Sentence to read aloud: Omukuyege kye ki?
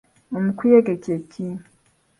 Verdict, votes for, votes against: accepted, 2, 0